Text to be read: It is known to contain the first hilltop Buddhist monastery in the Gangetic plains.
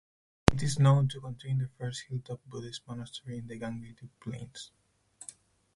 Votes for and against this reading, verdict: 2, 4, rejected